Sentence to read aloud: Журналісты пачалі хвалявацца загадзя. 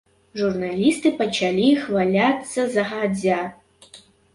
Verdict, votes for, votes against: rejected, 0, 2